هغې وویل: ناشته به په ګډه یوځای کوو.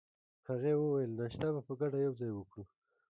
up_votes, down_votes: 2, 1